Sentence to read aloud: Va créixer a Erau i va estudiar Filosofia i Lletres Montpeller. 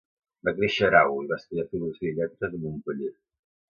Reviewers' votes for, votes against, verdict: 1, 2, rejected